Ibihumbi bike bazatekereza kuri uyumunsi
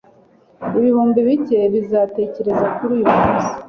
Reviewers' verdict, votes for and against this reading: accepted, 2, 1